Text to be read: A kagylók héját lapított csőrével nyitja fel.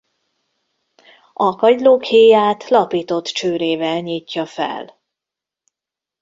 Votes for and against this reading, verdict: 2, 0, accepted